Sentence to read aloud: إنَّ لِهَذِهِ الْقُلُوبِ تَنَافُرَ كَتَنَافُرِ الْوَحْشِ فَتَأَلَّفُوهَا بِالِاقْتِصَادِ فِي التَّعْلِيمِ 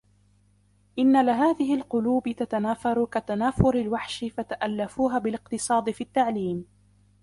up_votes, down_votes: 1, 2